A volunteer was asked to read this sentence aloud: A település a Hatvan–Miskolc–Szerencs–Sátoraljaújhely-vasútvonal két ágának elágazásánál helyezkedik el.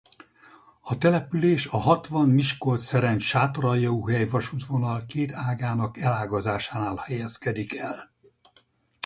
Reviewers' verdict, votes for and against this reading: rejected, 2, 4